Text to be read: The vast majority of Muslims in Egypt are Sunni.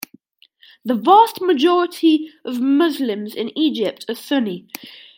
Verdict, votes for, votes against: accepted, 2, 0